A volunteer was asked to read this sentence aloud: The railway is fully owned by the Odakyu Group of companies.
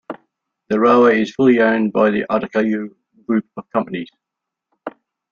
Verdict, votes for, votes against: accepted, 2, 0